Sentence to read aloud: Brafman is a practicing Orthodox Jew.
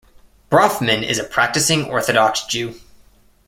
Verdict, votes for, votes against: accepted, 2, 0